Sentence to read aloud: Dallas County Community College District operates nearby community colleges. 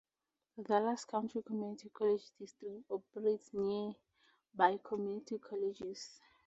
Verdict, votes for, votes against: accepted, 2, 0